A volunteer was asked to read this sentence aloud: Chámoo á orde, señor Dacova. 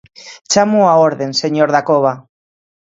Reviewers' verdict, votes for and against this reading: accepted, 2, 1